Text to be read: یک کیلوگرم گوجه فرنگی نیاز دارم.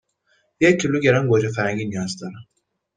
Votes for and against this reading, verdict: 2, 0, accepted